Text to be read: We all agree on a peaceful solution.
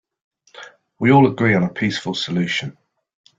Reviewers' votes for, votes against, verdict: 2, 0, accepted